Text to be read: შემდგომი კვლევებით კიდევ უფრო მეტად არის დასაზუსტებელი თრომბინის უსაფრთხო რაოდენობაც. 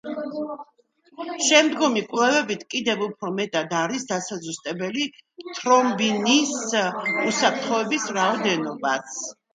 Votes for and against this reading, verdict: 1, 2, rejected